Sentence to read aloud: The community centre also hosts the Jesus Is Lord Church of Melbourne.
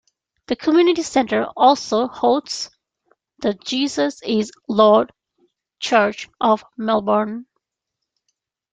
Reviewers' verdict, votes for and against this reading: rejected, 0, 2